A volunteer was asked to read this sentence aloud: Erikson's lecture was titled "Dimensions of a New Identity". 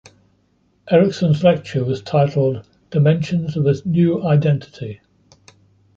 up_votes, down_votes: 0, 2